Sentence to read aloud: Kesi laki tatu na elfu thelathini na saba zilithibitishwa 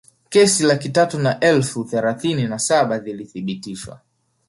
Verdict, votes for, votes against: rejected, 1, 2